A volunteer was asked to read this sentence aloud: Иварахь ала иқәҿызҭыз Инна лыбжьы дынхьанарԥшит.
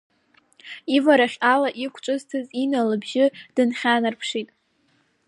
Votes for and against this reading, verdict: 1, 2, rejected